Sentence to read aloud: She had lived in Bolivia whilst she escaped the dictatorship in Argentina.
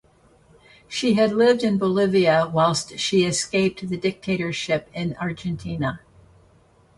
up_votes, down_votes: 2, 0